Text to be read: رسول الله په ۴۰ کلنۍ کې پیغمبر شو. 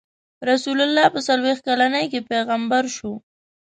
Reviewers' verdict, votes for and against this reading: rejected, 0, 2